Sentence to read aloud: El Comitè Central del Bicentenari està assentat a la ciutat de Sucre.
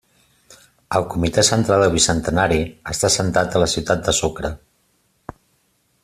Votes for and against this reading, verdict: 2, 0, accepted